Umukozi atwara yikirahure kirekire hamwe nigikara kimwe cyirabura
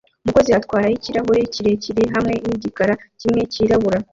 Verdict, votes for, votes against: accepted, 2, 1